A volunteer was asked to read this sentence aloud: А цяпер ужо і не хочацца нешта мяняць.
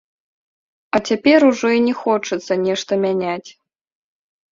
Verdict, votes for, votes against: rejected, 0, 2